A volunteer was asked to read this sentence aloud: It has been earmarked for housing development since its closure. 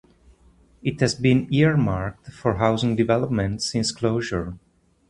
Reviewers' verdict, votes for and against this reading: rejected, 0, 2